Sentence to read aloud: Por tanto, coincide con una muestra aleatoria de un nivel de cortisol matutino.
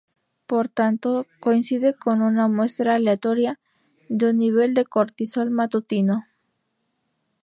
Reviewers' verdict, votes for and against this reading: accepted, 2, 0